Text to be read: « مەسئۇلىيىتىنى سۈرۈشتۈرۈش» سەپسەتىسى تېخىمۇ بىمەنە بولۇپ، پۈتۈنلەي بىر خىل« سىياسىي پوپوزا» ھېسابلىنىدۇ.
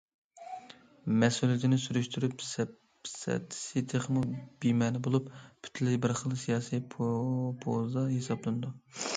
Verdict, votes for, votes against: rejected, 0, 2